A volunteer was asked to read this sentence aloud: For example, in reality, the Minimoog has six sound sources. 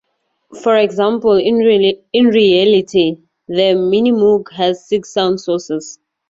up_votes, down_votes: 2, 2